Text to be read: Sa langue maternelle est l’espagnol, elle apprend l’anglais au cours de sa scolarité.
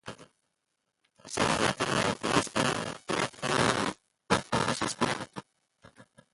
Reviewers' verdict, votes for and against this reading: rejected, 0, 2